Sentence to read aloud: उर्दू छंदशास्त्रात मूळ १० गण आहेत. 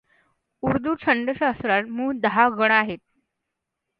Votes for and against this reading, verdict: 0, 2, rejected